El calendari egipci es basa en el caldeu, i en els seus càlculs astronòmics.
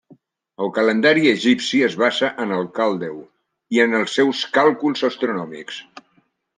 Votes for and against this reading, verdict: 1, 2, rejected